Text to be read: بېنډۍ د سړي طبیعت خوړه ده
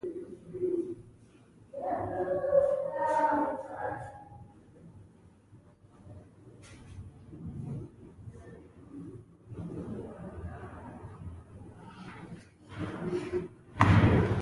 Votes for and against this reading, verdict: 1, 2, rejected